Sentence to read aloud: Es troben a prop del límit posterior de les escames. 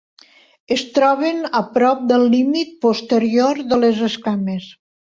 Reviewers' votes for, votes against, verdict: 3, 0, accepted